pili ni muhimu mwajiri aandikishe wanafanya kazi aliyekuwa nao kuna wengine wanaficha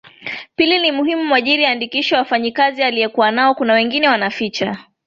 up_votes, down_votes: 3, 1